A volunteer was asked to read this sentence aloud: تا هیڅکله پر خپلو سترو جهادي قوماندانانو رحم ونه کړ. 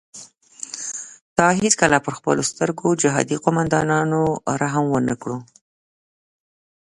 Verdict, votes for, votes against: rejected, 1, 2